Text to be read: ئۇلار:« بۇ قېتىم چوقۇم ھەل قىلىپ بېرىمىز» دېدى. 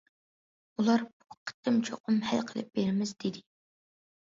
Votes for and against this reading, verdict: 2, 0, accepted